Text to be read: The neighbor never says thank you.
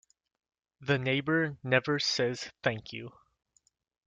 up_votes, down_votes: 2, 0